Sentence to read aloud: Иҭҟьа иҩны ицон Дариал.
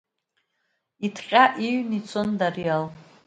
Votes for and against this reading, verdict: 2, 1, accepted